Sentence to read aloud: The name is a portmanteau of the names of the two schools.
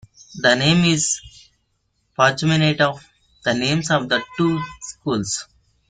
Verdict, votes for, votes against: rejected, 0, 2